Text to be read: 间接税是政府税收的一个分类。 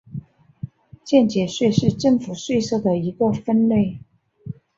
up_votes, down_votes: 3, 0